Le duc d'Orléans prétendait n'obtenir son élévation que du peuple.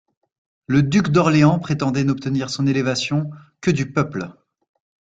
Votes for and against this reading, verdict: 2, 0, accepted